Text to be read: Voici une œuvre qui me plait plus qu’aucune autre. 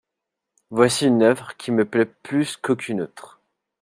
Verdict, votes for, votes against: accepted, 2, 0